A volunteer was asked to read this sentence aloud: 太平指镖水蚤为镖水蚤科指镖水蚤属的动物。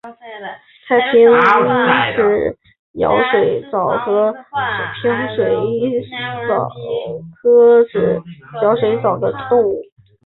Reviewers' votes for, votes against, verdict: 1, 2, rejected